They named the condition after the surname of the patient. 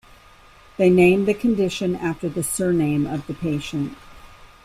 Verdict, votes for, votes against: accepted, 3, 0